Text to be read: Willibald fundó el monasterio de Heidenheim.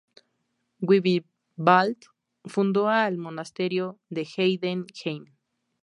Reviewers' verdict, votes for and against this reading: rejected, 0, 2